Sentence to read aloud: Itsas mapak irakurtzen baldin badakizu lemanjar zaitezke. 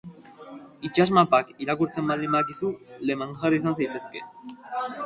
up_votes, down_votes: 0, 2